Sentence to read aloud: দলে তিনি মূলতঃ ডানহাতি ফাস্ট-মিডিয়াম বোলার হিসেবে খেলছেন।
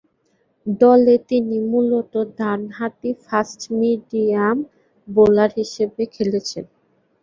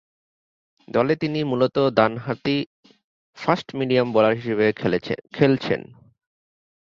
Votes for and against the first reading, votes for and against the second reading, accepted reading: 0, 2, 2, 0, second